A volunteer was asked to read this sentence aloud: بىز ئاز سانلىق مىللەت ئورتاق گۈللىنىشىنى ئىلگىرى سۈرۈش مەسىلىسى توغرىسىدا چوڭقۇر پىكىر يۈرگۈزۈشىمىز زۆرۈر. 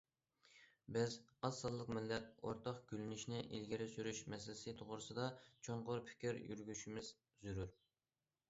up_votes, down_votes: 2, 1